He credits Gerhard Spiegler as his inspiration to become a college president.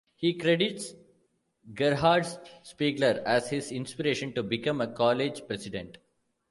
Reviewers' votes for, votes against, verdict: 0, 2, rejected